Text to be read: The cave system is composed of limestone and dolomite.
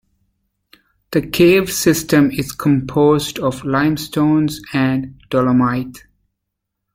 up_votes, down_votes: 1, 2